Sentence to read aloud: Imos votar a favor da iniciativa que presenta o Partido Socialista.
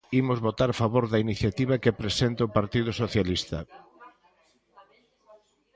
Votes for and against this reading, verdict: 2, 0, accepted